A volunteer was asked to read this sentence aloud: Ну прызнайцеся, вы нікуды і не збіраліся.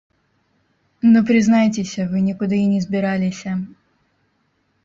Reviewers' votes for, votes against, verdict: 0, 2, rejected